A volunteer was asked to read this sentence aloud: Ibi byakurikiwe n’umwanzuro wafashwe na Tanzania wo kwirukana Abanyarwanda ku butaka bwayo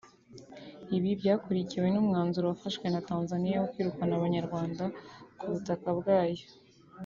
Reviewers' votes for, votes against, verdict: 3, 1, accepted